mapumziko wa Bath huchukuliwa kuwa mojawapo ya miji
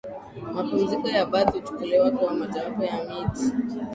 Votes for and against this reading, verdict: 2, 0, accepted